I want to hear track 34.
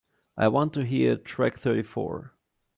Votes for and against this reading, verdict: 0, 2, rejected